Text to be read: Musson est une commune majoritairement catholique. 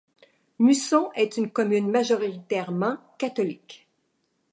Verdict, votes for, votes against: accepted, 2, 0